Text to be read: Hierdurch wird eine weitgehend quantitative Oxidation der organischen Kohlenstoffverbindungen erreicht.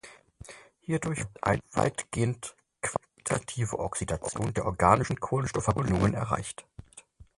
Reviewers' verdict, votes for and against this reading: rejected, 0, 4